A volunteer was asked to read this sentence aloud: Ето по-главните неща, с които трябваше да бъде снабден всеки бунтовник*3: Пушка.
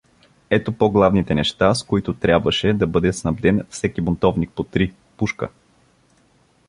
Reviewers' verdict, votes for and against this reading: rejected, 0, 2